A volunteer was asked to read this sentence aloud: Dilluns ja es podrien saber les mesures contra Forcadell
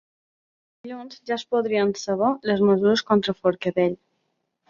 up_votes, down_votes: 0, 2